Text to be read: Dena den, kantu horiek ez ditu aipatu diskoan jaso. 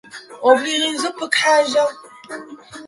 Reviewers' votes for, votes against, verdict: 0, 6, rejected